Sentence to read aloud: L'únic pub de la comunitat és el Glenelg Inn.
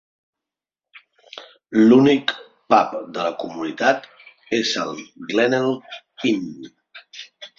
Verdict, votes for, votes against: rejected, 1, 2